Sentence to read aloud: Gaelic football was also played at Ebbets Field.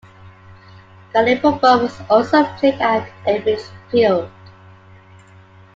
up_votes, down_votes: 2, 1